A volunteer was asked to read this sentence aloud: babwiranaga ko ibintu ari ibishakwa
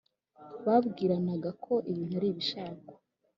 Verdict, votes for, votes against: accepted, 3, 0